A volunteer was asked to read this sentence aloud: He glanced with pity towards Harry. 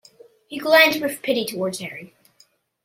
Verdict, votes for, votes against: accepted, 2, 0